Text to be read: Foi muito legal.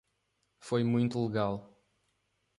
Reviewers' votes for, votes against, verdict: 3, 0, accepted